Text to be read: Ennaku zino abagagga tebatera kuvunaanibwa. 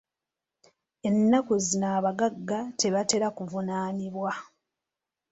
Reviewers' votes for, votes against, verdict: 2, 0, accepted